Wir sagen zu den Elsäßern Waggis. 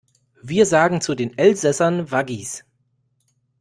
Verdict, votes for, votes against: rejected, 0, 2